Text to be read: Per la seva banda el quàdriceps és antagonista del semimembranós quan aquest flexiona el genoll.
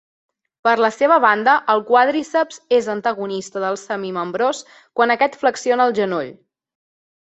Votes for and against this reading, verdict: 0, 2, rejected